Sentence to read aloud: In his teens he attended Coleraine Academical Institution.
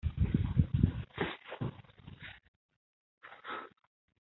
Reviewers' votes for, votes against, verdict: 0, 3, rejected